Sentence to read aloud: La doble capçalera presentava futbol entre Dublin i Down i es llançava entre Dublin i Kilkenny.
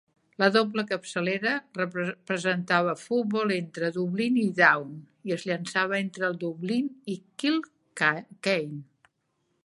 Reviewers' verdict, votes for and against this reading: rejected, 0, 2